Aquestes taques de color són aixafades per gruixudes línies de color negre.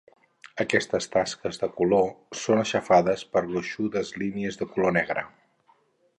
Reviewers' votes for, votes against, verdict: 0, 4, rejected